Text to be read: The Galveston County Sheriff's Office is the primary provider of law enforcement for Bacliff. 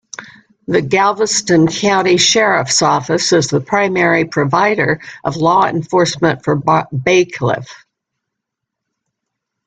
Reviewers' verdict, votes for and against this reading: rejected, 1, 2